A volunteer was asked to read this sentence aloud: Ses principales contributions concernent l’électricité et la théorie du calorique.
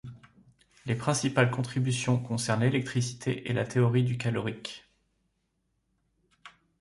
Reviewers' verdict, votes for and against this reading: rejected, 1, 2